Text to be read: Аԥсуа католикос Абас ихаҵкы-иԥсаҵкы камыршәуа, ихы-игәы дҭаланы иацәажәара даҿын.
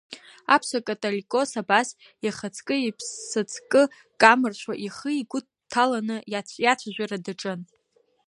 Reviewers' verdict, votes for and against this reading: rejected, 1, 2